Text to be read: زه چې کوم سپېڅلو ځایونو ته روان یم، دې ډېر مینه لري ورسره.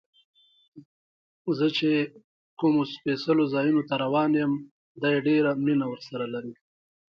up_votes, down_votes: 0, 2